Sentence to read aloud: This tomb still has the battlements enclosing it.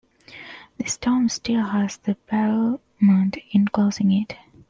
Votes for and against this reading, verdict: 0, 2, rejected